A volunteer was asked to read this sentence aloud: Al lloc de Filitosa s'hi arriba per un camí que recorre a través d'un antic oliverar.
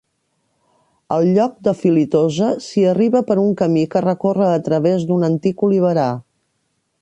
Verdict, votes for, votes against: accepted, 2, 0